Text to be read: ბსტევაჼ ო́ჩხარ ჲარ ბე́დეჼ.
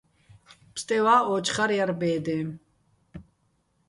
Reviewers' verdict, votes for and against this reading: rejected, 1, 2